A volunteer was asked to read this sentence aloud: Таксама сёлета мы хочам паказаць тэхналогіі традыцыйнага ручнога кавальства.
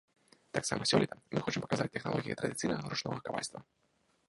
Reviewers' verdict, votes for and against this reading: rejected, 0, 2